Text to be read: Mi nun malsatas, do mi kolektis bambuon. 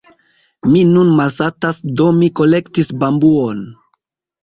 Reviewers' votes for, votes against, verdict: 2, 0, accepted